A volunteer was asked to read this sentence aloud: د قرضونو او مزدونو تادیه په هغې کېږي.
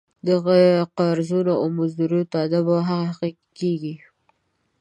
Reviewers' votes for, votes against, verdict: 1, 2, rejected